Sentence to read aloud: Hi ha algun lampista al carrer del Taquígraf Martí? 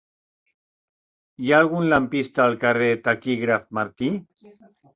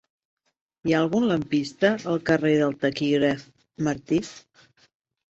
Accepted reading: second